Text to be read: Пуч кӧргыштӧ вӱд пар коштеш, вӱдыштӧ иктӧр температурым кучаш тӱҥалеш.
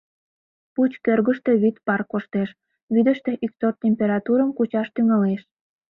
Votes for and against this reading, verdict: 0, 2, rejected